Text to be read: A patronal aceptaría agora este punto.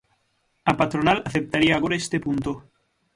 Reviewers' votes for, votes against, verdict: 6, 0, accepted